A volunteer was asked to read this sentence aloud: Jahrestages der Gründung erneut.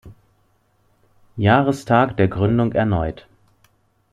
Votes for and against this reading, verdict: 0, 2, rejected